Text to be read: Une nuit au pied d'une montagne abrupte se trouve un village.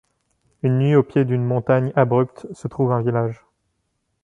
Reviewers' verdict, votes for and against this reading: accepted, 2, 0